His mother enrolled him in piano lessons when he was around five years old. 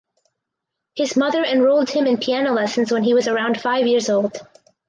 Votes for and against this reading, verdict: 2, 4, rejected